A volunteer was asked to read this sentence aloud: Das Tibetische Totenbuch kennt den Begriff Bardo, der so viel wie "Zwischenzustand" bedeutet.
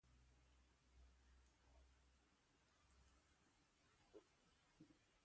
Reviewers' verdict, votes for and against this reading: rejected, 0, 2